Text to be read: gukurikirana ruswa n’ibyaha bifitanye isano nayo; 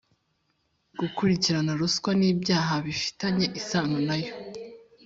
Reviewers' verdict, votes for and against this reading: accepted, 2, 0